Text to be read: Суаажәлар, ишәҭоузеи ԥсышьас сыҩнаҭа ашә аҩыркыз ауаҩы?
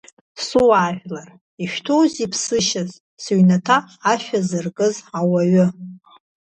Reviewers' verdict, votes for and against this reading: rejected, 1, 2